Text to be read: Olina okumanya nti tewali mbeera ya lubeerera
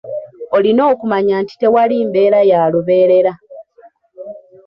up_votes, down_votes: 2, 0